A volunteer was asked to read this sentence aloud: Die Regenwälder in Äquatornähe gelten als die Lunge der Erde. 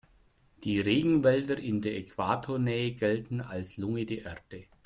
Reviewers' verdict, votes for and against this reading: rejected, 0, 2